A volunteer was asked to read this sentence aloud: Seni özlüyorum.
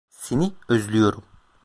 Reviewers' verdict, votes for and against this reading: rejected, 1, 2